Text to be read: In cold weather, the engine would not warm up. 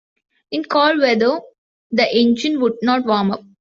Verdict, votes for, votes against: rejected, 1, 2